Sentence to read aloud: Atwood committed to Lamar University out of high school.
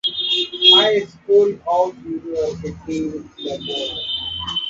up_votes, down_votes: 0, 2